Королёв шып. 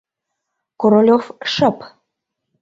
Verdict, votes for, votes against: accepted, 2, 0